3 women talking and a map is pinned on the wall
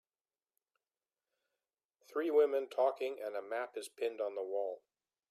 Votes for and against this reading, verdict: 0, 2, rejected